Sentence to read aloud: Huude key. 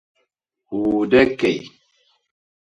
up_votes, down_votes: 0, 2